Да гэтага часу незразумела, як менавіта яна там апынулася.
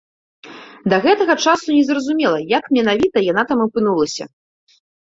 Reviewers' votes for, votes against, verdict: 2, 0, accepted